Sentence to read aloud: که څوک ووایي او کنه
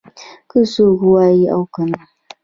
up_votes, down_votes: 0, 2